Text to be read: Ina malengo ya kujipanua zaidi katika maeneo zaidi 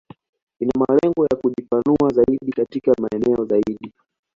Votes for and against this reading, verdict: 2, 0, accepted